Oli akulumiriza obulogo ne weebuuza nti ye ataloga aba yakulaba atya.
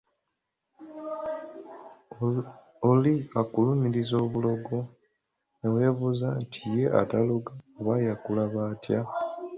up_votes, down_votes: 2, 0